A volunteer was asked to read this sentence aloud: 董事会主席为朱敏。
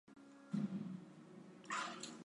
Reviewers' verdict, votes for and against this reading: rejected, 0, 2